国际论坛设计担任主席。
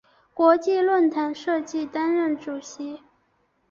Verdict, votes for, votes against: accepted, 2, 0